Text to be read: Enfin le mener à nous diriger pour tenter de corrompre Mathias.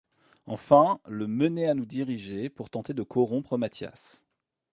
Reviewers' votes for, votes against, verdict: 2, 0, accepted